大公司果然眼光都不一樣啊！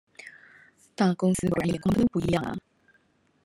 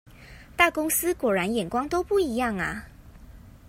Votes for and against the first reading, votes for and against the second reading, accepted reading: 1, 2, 2, 0, second